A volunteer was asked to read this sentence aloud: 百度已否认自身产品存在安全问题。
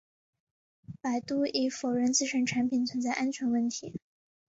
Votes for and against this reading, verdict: 2, 1, accepted